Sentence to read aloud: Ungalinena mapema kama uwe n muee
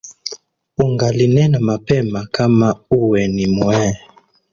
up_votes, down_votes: 0, 2